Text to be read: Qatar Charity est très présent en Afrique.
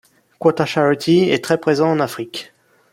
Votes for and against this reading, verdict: 1, 2, rejected